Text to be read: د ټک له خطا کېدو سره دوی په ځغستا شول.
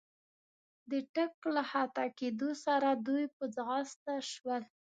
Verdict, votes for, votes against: accepted, 2, 0